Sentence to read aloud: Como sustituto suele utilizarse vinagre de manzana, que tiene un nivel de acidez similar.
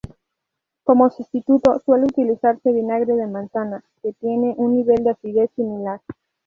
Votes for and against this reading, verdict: 2, 2, rejected